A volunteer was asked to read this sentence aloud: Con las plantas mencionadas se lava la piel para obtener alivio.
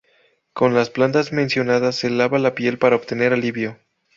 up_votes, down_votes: 4, 0